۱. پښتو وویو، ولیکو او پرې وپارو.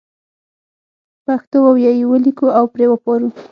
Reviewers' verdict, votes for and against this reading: rejected, 0, 2